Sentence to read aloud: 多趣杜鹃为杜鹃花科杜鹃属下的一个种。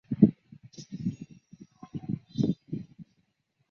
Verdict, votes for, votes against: rejected, 0, 2